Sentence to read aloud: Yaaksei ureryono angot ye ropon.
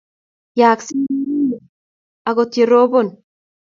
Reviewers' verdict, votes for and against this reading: rejected, 1, 2